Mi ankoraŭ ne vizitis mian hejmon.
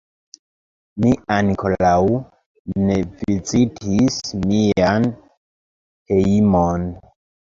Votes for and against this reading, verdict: 0, 2, rejected